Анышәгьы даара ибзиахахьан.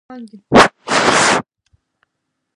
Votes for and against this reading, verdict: 0, 2, rejected